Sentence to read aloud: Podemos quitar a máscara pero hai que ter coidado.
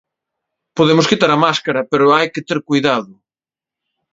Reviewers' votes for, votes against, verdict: 2, 0, accepted